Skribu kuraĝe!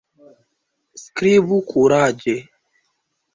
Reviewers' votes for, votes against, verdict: 2, 1, accepted